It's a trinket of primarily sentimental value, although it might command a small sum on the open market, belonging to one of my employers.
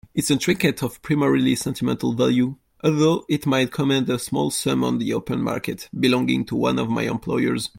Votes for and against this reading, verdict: 1, 2, rejected